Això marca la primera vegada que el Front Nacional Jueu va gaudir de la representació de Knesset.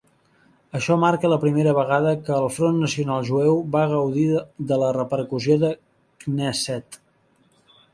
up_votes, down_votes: 0, 3